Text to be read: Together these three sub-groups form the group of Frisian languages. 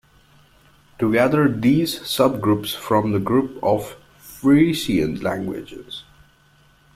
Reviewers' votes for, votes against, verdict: 0, 2, rejected